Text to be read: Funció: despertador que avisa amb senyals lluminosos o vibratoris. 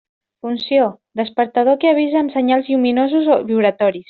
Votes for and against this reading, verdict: 2, 0, accepted